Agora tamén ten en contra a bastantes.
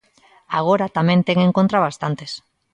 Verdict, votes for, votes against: accepted, 2, 0